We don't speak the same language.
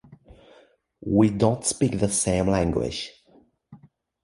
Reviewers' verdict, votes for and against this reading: accepted, 2, 1